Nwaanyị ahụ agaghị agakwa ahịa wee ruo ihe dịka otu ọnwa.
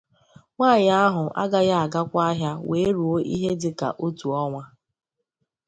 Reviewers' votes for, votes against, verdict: 2, 0, accepted